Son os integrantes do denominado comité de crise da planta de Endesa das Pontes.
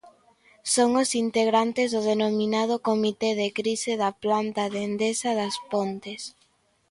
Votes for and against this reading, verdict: 3, 0, accepted